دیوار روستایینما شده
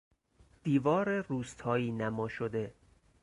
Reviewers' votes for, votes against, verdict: 4, 0, accepted